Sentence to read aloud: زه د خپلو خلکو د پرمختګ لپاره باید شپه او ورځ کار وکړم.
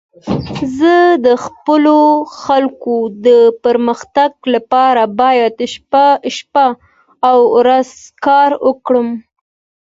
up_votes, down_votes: 2, 0